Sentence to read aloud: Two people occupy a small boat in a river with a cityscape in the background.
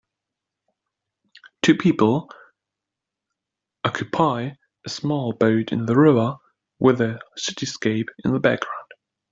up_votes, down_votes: 0, 2